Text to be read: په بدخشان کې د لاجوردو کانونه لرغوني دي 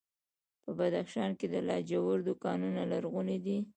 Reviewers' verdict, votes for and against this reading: rejected, 0, 2